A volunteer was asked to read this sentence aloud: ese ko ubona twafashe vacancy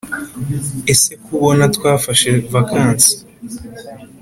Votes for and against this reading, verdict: 2, 0, accepted